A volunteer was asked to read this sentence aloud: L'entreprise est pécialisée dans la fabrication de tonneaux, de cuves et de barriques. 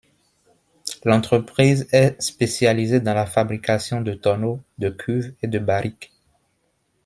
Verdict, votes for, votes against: rejected, 1, 2